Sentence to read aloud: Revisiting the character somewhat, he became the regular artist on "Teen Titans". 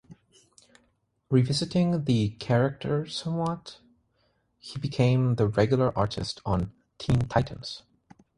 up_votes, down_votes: 3, 0